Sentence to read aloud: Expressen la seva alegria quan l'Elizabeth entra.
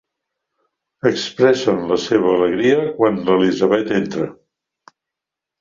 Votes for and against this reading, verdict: 3, 0, accepted